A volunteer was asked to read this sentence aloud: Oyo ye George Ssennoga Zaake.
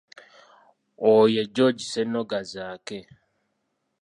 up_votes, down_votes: 2, 0